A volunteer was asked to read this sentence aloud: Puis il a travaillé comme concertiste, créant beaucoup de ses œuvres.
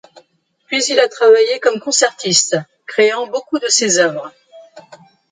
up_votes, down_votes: 2, 0